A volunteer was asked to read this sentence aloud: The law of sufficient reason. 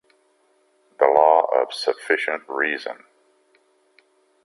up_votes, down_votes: 2, 0